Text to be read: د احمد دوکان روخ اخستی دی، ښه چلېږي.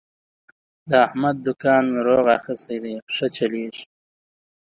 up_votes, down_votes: 0, 2